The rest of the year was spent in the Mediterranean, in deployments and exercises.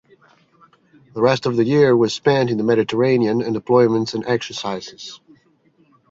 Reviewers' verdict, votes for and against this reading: accepted, 2, 1